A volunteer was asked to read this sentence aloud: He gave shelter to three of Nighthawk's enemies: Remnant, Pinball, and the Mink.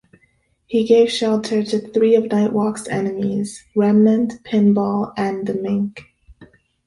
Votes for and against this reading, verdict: 0, 3, rejected